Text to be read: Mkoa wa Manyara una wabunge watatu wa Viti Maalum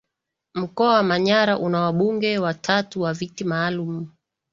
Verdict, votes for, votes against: accepted, 2, 0